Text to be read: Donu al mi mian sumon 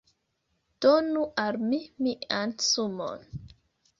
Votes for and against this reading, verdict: 1, 2, rejected